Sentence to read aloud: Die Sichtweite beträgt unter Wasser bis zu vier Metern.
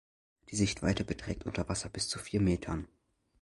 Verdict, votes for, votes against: accepted, 2, 0